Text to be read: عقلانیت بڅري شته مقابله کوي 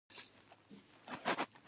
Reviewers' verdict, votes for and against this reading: rejected, 1, 2